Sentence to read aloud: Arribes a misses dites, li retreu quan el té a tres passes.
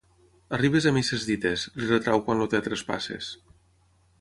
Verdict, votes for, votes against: rejected, 0, 3